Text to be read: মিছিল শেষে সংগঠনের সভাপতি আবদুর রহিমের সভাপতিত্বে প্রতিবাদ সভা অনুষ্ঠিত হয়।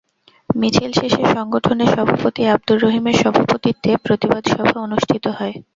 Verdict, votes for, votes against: rejected, 0, 2